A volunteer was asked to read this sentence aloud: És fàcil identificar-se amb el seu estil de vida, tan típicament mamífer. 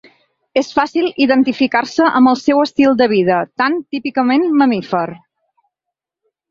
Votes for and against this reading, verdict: 3, 0, accepted